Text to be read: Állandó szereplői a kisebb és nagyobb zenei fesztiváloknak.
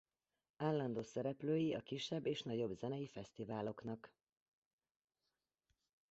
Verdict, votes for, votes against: accepted, 2, 0